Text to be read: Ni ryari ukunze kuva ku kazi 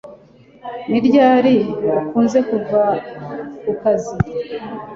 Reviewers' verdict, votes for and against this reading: accepted, 2, 0